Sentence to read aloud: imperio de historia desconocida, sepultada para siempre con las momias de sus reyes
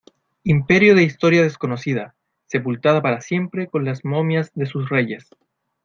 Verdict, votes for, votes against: accepted, 2, 0